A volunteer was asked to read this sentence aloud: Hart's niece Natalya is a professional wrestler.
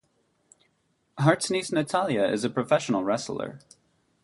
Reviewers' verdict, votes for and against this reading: accepted, 2, 0